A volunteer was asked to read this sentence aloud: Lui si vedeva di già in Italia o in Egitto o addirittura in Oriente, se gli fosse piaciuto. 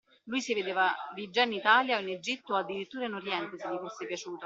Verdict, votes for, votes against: rejected, 0, 2